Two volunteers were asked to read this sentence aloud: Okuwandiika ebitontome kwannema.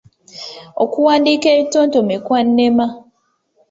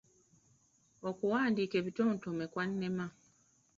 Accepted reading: first